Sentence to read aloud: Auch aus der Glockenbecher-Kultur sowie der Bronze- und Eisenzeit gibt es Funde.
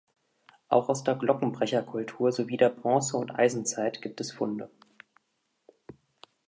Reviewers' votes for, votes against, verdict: 1, 2, rejected